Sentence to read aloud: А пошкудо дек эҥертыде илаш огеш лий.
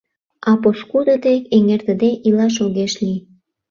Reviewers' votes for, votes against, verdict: 2, 0, accepted